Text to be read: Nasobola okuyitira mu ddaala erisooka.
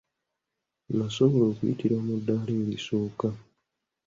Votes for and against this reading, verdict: 0, 2, rejected